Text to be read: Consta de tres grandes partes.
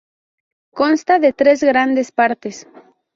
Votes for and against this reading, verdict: 2, 2, rejected